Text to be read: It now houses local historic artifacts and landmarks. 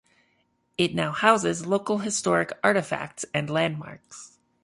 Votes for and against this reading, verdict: 2, 0, accepted